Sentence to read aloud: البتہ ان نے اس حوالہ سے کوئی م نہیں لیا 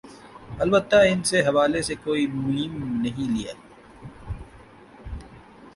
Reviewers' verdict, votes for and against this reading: accepted, 2, 0